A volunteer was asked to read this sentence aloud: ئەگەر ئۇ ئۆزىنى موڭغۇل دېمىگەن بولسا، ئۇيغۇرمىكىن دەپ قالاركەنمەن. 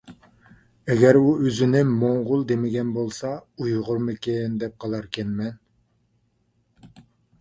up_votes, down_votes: 2, 0